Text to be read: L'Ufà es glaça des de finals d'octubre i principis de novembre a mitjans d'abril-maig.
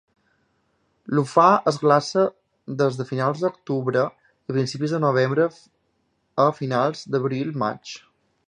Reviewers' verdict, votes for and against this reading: rejected, 1, 3